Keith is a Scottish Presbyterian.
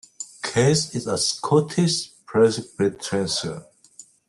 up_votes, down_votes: 0, 2